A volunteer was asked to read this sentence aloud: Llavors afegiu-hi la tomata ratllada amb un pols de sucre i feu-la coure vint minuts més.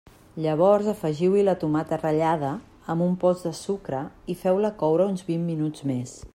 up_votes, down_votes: 2, 0